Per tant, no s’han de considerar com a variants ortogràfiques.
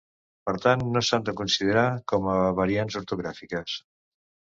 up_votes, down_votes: 2, 0